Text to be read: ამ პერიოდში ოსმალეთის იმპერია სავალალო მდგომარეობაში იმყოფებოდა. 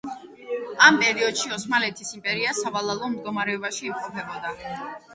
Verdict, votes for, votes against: accepted, 2, 0